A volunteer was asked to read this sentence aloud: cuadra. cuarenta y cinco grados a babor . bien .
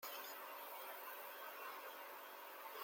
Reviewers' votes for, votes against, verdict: 0, 2, rejected